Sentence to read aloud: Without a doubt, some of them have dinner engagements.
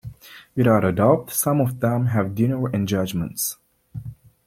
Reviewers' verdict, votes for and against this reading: rejected, 1, 2